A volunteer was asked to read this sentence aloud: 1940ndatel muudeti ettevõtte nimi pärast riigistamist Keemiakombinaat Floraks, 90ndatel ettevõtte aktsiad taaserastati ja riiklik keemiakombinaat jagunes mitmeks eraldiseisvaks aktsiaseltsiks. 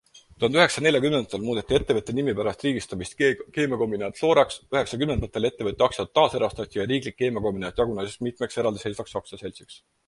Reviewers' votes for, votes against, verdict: 0, 2, rejected